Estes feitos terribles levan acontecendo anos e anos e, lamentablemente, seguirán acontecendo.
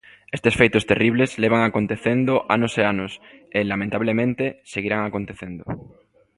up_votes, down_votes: 2, 0